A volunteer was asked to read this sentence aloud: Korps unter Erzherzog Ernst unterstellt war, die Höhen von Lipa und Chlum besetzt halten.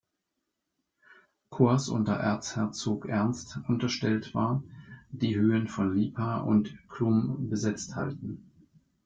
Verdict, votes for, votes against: accepted, 2, 0